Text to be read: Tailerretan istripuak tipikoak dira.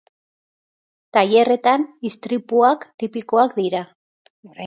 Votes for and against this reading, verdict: 2, 0, accepted